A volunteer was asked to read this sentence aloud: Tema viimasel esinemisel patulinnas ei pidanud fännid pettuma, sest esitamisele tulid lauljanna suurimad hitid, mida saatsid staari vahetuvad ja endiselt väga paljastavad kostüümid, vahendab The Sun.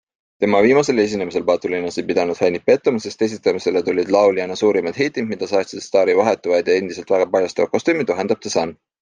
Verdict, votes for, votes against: accepted, 2, 0